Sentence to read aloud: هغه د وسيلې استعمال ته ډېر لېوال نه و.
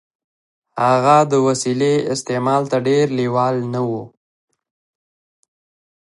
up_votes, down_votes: 2, 1